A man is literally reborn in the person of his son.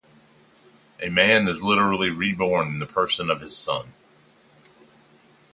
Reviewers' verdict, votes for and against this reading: accepted, 2, 0